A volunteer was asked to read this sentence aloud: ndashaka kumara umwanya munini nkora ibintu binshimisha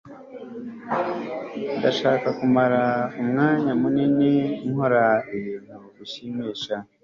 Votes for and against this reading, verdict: 2, 0, accepted